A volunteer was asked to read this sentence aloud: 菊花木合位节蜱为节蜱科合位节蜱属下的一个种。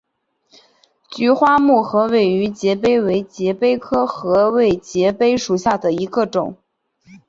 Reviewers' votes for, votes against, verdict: 2, 0, accepted